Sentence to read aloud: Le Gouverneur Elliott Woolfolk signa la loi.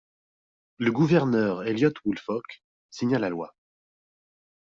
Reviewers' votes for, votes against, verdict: 2, 0, accepted